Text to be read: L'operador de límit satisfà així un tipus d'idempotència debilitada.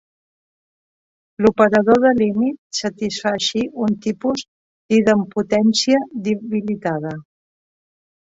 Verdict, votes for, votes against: rejected, 1, 2